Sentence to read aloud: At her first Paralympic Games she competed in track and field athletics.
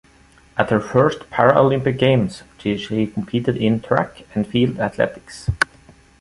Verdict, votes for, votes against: rejected, 1, 2